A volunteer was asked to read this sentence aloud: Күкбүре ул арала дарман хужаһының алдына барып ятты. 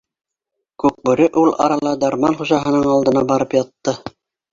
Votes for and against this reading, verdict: 0, 2, rejected